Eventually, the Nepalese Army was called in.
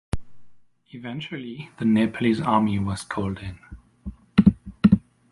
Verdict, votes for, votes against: accepted, 2, 0